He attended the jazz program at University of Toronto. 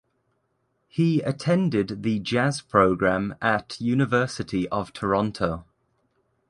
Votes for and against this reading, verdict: 3, 0, accepted